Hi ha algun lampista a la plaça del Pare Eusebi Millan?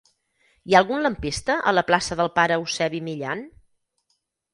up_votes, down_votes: 2, 4